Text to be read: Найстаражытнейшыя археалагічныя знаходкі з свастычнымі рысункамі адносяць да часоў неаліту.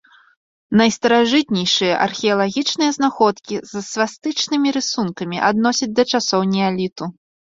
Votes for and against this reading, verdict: 2, 0, accepted